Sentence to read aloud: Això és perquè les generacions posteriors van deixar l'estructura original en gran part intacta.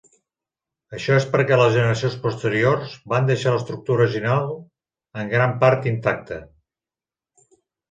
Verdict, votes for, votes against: accepted, 3, 0